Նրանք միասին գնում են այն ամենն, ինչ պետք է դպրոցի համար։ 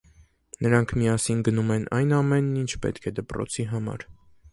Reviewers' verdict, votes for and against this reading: accepted, 2, 0